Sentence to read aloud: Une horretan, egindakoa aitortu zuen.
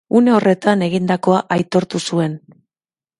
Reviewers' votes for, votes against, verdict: 3, 0, accepted